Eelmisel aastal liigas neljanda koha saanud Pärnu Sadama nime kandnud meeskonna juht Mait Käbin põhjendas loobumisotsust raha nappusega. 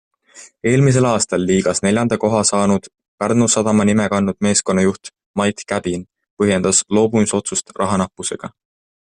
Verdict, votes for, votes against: accepted, 2, 1